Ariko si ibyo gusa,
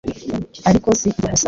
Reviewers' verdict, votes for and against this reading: accepted, 3, 0